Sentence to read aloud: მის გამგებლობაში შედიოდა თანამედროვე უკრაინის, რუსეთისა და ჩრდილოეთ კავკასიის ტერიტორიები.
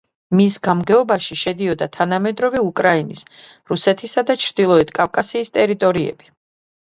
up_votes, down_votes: 0, 2